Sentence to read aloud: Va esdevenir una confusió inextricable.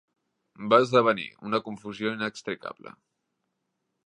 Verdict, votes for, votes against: accepted, 3, 0